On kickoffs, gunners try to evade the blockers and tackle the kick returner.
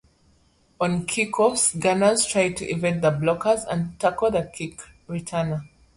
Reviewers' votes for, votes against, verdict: 0, 2, rejected